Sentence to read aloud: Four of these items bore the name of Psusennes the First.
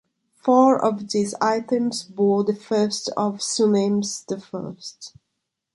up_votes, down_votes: 1, 2